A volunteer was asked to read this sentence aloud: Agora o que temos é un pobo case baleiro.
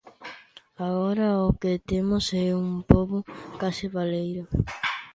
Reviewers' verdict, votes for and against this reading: accepted, 2, 0